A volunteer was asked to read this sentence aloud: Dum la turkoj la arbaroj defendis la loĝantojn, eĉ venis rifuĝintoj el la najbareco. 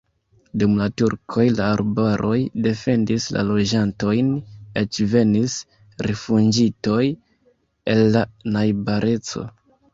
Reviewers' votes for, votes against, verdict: 0, 2, rejected